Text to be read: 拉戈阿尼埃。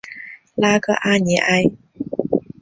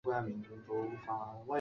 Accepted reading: first